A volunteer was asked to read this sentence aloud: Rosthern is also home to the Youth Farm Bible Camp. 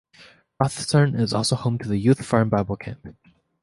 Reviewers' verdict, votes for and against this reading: accepted, 2, 0